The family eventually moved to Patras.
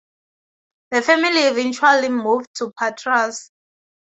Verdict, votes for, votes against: accepted, 4, 0